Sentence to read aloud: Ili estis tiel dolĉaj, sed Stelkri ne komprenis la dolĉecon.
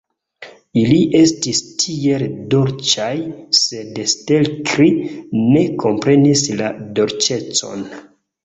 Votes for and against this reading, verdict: 2, 0, accepted